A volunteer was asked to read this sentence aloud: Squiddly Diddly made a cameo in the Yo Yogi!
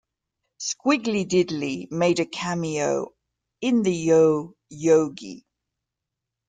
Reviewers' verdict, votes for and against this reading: accepted, 2, 0